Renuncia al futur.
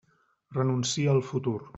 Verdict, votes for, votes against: accepted, 2, 0